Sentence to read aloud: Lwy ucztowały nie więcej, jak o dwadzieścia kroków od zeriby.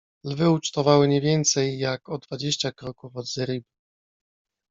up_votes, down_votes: 0, 2